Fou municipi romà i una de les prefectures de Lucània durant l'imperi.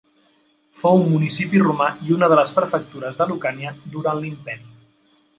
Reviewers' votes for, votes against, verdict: 2, 0, accepted